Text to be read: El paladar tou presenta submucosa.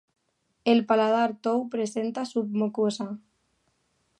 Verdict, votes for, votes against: accepted, 2, 0